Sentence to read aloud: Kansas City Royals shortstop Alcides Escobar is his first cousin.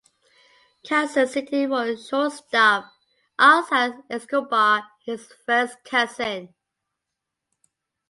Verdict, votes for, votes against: accepted, 2, 0